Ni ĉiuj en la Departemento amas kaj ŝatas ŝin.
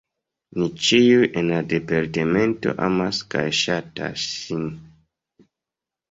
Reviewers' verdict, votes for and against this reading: accepted, 2, 0